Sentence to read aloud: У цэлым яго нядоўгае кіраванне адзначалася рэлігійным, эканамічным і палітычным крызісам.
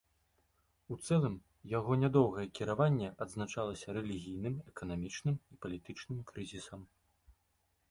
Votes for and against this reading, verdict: 2, 0, accepted